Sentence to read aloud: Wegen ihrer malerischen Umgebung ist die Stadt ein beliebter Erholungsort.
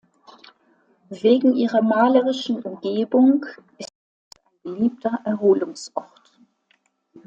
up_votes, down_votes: 0, 2